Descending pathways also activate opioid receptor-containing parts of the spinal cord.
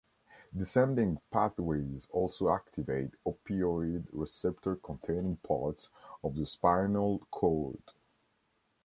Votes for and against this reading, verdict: 2, 0, accepted